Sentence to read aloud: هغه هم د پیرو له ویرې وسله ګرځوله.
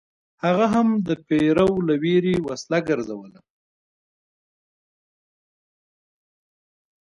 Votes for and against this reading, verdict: 2, 0, accepted